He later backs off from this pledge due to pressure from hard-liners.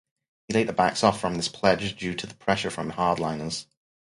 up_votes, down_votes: 2, 2